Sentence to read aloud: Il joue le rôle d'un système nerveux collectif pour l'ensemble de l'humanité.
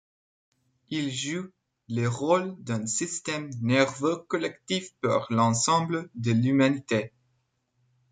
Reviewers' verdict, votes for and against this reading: accepted, 2, 0